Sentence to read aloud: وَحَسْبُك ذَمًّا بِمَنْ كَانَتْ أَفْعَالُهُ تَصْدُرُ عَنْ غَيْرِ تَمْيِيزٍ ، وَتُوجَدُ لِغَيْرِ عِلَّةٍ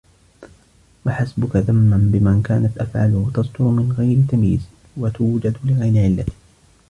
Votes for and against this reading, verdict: 1, 2, rejected